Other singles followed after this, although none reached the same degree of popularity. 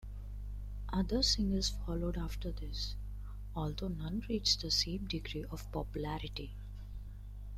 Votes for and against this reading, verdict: 0, 2, rejected